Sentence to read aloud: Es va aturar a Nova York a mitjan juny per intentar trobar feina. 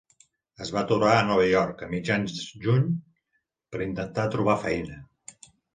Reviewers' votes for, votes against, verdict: 1, 2, rejected